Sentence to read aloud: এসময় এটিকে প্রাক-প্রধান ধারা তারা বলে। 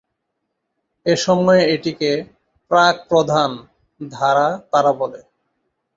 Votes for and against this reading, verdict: 3, 0, accepted